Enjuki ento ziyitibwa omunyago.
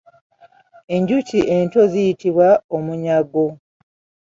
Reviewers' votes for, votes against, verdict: 2, 0, accepted